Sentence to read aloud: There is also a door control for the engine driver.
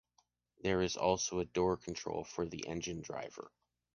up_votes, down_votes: 2, 0